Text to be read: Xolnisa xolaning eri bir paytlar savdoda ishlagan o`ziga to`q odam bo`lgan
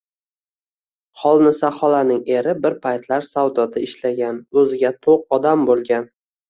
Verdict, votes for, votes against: accepted, 2, 0